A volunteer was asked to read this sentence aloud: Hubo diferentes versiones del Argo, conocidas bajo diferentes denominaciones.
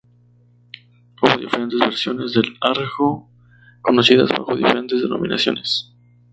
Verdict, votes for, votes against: rejected, 0, 2